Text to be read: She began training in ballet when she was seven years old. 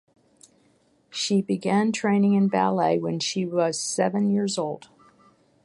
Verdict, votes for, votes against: rejected, 3, 3